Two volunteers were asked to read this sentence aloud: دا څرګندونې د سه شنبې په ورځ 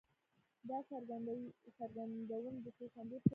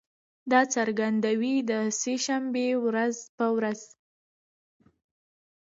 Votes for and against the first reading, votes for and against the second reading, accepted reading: 1, 2, 2, 0, second